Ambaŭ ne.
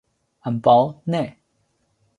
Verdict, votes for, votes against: rejected, 1, 2